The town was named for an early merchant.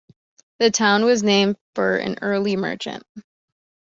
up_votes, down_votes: 2, 0